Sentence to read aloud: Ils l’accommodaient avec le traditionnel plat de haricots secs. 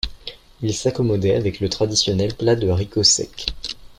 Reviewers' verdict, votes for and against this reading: rejected, 1, 2